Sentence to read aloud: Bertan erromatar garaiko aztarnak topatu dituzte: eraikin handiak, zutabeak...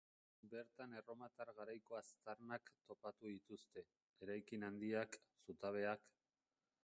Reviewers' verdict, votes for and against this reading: rejected, 0, 2